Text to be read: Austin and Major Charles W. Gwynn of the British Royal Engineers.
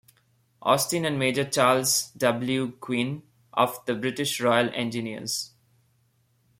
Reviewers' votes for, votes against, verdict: 2, 0, accepted